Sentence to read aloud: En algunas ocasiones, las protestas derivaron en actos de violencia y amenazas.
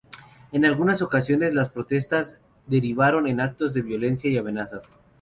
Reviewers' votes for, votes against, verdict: 2, 0, accepted